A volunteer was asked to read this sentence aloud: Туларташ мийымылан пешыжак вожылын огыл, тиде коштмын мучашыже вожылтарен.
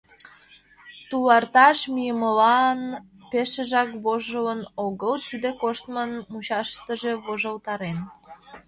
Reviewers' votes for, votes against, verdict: 2, 0, accepted